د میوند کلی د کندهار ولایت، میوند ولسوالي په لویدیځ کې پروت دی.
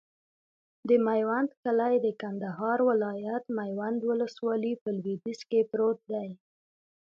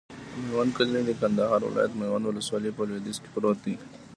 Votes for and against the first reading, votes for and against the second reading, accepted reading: 2, 0, 1, 2, first